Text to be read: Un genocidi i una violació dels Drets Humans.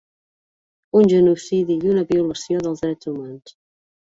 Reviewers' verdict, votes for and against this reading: accepted, 2, 0